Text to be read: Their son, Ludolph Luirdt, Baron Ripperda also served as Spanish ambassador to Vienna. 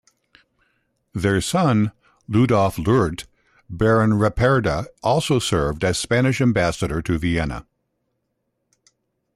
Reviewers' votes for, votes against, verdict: 2, 0, accepted